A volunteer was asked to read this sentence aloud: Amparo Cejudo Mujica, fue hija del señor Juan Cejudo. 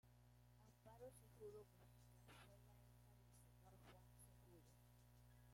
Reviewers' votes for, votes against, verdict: 0, 2, rejected